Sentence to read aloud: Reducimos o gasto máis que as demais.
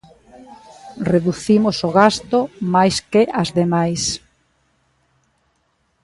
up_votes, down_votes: 3, 0